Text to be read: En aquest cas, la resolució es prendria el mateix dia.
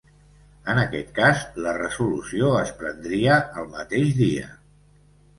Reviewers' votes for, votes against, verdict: 2, 0, accepted